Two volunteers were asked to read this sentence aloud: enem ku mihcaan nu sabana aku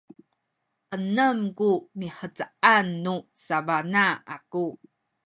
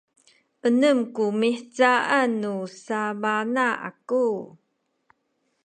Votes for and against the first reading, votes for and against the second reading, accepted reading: 1, 2, 3, 0, second